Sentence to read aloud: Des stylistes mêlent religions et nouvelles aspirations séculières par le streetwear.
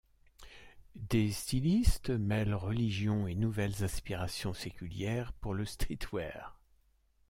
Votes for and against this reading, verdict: 1, 2, rejected